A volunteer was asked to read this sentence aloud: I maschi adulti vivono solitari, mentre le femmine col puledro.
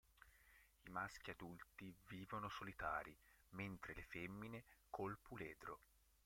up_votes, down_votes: 0, 2